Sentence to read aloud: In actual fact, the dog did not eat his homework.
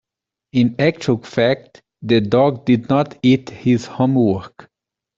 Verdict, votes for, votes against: accepted, 2, 0